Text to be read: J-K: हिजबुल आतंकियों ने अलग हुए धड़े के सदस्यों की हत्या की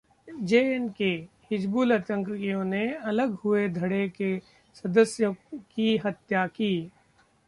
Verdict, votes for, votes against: rejected, 0, 2